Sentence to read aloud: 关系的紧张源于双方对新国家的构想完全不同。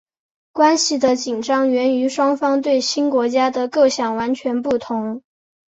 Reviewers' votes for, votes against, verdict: 2, 0, accepted